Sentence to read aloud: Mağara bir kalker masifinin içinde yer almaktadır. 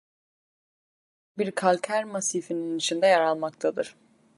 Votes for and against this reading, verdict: 0, 2, rejected